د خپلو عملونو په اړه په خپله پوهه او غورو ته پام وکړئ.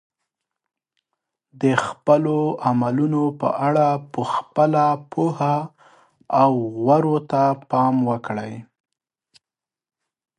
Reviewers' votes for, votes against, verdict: 2, 0, accepted